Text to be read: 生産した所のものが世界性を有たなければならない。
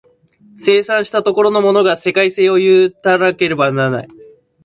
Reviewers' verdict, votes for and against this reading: rejected, 0, 2